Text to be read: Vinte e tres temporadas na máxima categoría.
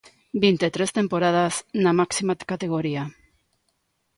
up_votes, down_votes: 2, 1